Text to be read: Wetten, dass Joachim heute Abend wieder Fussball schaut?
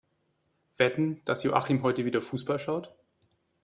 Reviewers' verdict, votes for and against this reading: rejected, 0, 3